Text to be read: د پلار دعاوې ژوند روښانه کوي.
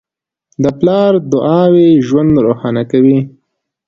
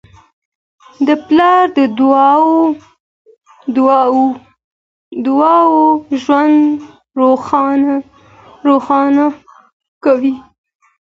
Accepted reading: first